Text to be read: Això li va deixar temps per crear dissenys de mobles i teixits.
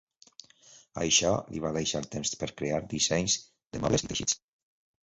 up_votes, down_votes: 2, 1